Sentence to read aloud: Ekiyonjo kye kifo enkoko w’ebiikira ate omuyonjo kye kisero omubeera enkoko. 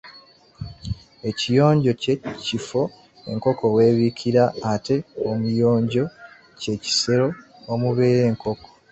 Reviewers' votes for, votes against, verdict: 1, 2, rejected